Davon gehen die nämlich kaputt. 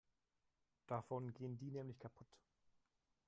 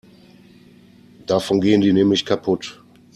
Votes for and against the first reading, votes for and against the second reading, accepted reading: 1, 3, 2, 0, second